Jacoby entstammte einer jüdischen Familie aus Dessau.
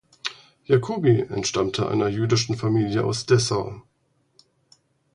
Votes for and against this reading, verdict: 4, 0, accepted